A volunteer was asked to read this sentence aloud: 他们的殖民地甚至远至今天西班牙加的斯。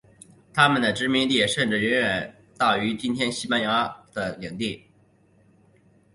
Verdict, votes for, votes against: rejected, 0, 2